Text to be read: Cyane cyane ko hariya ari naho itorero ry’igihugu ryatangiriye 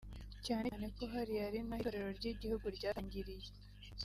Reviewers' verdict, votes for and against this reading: rejected, 0, 2